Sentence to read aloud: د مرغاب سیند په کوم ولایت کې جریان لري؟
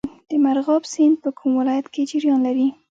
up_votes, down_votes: 0, 2